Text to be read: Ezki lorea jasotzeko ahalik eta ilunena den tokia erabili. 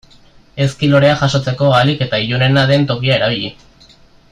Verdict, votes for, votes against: accepted, 2, 0